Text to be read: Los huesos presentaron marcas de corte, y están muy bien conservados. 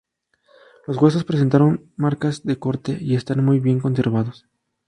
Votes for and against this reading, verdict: 2, 0, accepted